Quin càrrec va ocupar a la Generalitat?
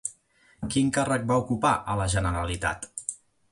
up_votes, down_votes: 2, 0